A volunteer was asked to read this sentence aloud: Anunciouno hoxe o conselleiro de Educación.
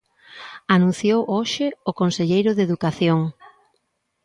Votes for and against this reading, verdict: 0, 2, rejected